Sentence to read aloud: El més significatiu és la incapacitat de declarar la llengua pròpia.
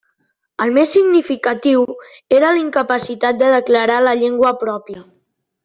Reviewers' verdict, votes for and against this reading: rejected, 0, 2